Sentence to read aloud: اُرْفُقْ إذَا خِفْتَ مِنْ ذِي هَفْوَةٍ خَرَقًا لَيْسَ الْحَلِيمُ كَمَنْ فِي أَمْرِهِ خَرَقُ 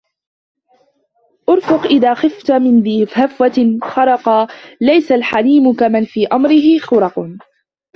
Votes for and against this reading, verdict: 1, 2, rejected